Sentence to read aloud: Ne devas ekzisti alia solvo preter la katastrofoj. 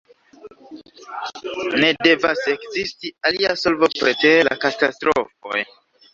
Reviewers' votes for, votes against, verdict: 2, 0, accepted